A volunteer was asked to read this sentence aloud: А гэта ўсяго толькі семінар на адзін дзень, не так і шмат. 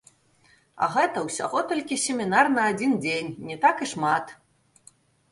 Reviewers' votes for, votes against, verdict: 2, 0, accepted